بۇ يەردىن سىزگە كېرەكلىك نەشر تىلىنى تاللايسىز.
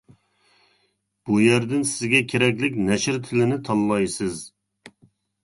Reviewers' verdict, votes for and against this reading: accepted, 2, 0